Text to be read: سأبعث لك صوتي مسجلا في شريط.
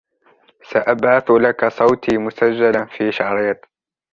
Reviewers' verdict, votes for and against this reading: rejected, 0, 2